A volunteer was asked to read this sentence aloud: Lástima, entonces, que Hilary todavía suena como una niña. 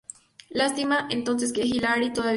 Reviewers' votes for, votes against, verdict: 0, 2, rejected